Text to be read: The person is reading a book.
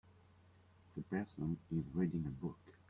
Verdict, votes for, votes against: accepted, 2, 0